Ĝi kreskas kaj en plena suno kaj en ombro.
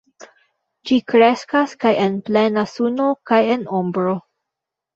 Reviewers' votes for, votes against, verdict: 2, 1, accepted